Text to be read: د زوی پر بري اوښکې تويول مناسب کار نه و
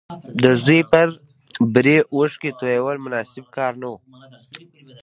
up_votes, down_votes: 1, 2